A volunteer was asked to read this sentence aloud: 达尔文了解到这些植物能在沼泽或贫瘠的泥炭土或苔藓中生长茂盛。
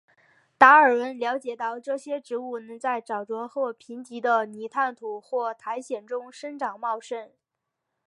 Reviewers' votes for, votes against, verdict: 0, 2, rejected